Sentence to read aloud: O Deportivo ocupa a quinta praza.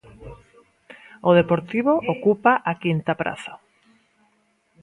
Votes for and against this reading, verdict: 2, 0, accepted